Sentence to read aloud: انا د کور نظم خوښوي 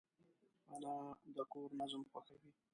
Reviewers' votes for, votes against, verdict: 1, 2, rejected